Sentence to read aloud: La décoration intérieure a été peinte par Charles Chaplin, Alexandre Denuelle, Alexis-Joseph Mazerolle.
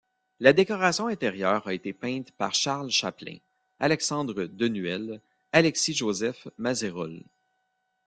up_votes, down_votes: 1, 2